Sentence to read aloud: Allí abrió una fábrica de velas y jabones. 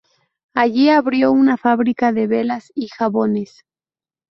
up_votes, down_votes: 2, 0